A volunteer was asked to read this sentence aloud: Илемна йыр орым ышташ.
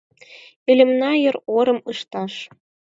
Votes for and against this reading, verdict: 4, 2, accepted